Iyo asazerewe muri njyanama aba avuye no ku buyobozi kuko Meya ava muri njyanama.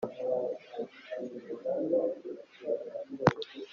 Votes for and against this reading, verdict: 0, 2, rejected